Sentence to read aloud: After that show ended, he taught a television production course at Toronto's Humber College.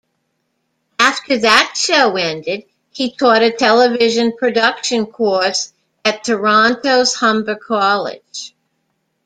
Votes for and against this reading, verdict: 2, 0, accepted